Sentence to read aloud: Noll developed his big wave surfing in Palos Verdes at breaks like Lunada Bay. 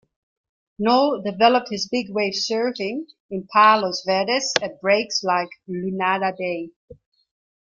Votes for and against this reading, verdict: 2, 0, accepted